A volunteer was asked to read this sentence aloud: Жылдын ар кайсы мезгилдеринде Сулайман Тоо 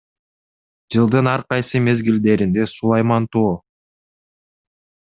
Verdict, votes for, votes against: accepted, 2, 0